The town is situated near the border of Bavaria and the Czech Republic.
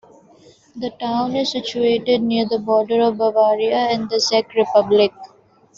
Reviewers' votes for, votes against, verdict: 0, 3, rejected